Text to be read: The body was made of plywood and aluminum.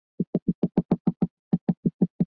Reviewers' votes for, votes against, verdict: 0, 2, rejected